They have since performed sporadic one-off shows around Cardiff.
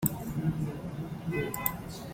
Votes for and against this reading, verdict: 0, 2, rejected